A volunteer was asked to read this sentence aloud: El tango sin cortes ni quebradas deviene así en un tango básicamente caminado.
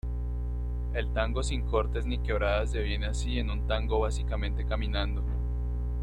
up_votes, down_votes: 2, 3